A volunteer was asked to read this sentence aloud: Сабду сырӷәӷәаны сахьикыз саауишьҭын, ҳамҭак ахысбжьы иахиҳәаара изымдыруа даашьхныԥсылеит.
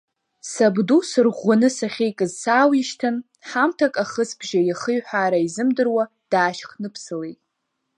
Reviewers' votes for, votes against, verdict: 2, 0, accepted